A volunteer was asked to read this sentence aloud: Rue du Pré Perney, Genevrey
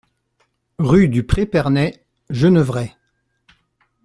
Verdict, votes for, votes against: accepted, 2, 0